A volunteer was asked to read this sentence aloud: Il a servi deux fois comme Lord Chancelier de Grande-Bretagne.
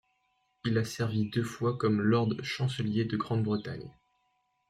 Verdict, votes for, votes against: rejected, 0, 2